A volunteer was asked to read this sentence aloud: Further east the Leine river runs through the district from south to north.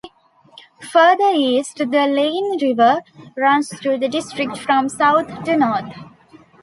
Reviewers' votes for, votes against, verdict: 2, 0, accepted